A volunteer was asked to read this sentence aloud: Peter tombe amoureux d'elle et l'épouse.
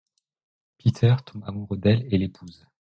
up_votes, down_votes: 2, 0